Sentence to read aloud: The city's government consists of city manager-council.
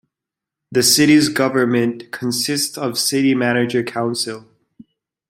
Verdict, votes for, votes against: accepted, 2, 0